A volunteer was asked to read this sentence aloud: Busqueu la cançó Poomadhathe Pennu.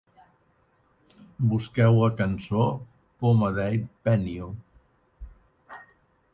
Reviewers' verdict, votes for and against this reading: rejected, 0, 3